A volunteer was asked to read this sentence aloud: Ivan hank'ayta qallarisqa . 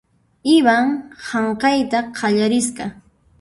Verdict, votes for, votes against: rejected, 0, 2